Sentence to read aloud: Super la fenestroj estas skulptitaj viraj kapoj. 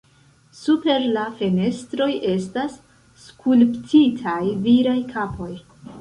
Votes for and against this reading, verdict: 2, 1, accepted